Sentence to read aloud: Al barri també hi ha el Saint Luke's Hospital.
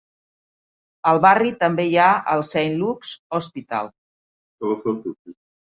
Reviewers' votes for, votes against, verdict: 1, 2, rejected